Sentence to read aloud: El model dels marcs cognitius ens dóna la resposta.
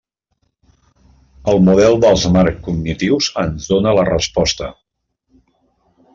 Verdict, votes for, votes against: rejected, 1, 2